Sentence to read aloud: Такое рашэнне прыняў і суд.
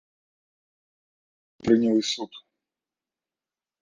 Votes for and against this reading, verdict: 0, 2, rejected